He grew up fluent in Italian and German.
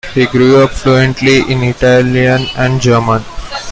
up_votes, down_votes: 1, 2